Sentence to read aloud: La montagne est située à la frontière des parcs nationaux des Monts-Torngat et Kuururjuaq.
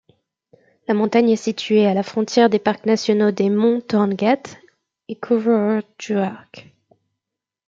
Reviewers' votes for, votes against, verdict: 2, 0, accepted